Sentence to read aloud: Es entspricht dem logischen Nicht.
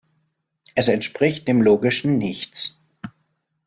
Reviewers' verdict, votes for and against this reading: rejected, 0, 2